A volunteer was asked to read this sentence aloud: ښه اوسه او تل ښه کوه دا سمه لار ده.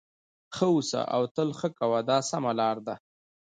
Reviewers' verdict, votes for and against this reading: accepted, 2, 1